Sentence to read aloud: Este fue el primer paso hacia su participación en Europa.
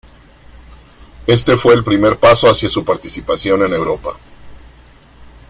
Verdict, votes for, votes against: accepted, 2, 0